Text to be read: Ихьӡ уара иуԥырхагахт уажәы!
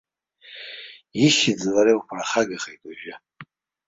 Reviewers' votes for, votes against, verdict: 0, 2, rejected